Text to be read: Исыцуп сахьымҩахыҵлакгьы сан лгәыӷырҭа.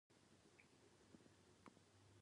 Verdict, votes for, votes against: rejected, 0, 2